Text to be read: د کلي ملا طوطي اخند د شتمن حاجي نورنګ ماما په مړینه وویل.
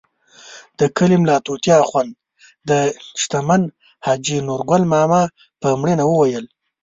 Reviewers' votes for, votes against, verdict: 0, 2, rejected